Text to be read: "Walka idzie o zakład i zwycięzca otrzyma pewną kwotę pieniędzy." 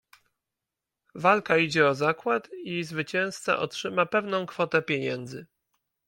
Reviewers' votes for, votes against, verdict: 2, 0, accepted